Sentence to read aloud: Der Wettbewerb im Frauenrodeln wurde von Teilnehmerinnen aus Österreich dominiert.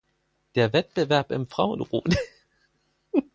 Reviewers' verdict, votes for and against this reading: rejected, 0, 4